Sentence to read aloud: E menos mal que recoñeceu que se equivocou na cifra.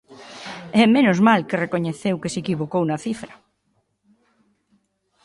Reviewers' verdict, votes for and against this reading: accepted, 2, 0